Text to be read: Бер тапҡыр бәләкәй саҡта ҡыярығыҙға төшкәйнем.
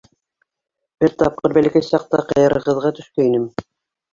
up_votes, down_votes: 1, 2